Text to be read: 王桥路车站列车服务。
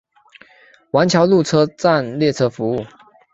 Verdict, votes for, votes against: accepted, 3, 0